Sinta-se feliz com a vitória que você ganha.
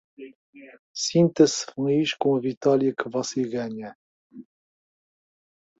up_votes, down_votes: 2, 0